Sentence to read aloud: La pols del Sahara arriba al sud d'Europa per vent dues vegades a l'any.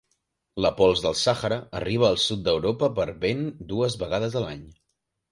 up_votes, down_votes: 2, 1